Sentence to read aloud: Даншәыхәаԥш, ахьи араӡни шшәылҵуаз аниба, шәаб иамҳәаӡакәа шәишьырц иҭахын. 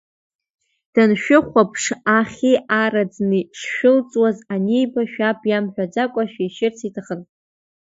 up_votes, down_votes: 2, 0